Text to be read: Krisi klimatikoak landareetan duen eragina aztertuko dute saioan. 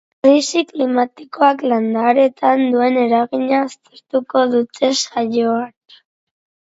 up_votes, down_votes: 6, 0